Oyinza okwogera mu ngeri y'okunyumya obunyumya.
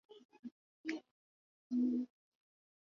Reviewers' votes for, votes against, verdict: 0, 2, rejected